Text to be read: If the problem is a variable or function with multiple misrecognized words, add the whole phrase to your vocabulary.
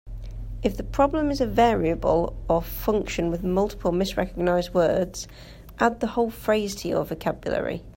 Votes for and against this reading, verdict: 2, 0, accepted